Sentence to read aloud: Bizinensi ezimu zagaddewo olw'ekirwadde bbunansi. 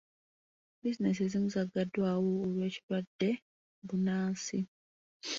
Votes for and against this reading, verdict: 1, 2, rejected